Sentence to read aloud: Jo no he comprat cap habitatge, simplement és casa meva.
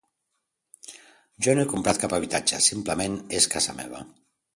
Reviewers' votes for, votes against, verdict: 2, 0, accepted